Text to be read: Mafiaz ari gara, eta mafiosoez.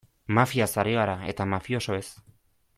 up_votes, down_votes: 2, 0